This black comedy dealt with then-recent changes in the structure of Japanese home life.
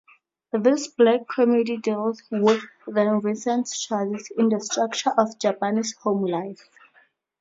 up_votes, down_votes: 0, 4